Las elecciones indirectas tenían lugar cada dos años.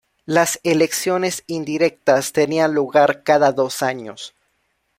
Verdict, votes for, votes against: accepted, 2, 0